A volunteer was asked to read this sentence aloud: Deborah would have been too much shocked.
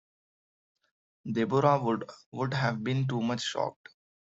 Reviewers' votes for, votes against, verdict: 0, 2, rejected